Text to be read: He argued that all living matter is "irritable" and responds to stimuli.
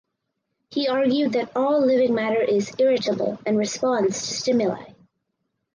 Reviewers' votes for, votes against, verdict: 2, 0, accepted